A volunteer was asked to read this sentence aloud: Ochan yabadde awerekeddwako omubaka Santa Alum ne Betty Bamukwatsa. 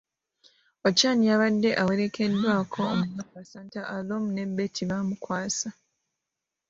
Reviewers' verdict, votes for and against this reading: rejected, 0, 2